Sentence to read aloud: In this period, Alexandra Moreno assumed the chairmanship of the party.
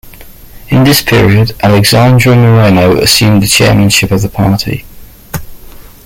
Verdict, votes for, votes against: accepted, 2, 0